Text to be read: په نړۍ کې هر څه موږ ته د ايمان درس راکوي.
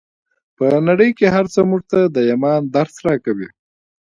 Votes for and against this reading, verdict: 0, 2, rejected